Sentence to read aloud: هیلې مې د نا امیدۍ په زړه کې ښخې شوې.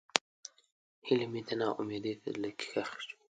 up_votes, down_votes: 2, 1